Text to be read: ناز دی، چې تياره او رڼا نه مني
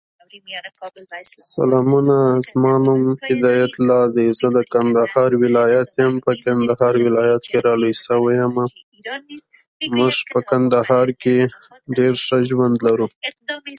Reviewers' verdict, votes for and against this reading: rejected, 0, 2